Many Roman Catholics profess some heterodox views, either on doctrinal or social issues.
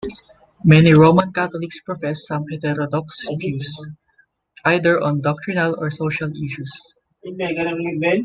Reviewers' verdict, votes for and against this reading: rejected, 1, 2